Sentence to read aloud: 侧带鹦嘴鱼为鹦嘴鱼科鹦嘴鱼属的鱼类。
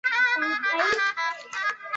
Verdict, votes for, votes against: rejected, 0, 2